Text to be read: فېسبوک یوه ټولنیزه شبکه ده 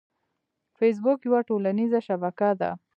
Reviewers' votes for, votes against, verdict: 2, 1, accepted